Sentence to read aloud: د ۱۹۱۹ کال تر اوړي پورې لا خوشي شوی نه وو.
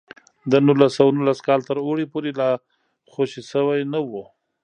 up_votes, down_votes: 0, 2